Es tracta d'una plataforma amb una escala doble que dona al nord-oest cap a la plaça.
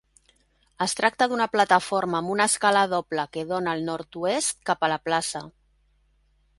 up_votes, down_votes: 2, 0